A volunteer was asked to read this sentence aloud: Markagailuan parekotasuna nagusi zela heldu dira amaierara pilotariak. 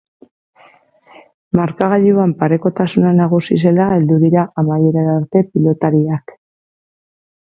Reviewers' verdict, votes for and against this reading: rejected, 0, 6